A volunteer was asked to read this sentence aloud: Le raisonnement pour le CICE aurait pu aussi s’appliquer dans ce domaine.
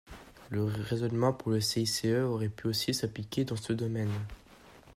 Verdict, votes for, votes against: accepted, 2, 1